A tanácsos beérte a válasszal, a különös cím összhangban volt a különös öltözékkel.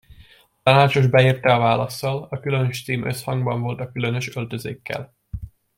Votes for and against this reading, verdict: 0, 2, rejected